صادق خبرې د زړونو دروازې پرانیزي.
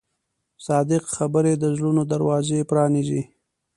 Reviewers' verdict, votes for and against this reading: accepted, 2, 0